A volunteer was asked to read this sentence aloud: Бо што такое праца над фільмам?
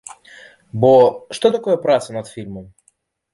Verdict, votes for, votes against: accepted, 2, 0